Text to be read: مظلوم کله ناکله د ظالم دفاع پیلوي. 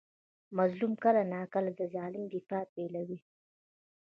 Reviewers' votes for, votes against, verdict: 2, 1, accepted